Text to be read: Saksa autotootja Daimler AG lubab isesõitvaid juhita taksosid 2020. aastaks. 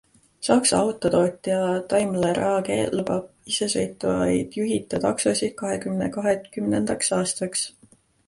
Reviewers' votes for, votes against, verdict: 0, 2, rejected